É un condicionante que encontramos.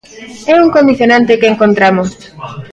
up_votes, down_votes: 2, 0